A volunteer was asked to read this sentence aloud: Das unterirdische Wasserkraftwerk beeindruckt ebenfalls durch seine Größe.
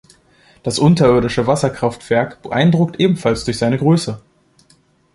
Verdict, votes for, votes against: accepted, 2, 0